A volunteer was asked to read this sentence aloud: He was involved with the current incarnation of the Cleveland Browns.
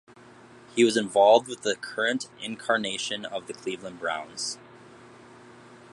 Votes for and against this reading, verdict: 2, 0, accepted